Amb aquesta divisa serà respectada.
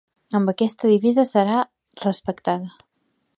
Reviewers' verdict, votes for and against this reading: accepted, 2, 0